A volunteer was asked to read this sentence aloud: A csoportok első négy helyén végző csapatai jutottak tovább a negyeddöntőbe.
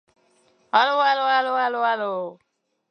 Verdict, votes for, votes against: rejected, 0, 2